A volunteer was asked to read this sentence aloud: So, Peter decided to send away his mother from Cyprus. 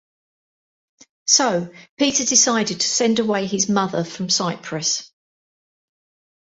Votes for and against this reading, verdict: 2, 0, accepted